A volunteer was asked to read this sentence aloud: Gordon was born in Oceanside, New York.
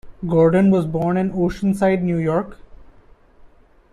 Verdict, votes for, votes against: rejected, 0, 2